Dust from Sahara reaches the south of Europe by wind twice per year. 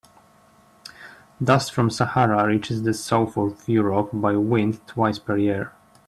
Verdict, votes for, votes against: accepted, 3, 1